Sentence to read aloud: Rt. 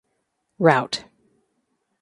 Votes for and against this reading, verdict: 2, 1, accepted